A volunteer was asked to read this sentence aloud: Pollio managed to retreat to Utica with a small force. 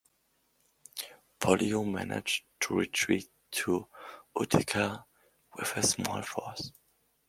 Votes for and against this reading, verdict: 2, 1, accepted